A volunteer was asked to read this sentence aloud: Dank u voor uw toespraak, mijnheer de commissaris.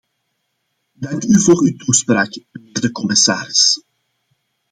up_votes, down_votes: 0, 2